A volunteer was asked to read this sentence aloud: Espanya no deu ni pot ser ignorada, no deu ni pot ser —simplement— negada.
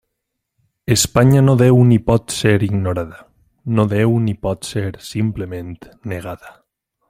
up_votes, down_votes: 3, 0